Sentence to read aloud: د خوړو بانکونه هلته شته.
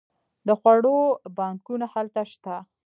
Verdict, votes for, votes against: rejected, 1, 2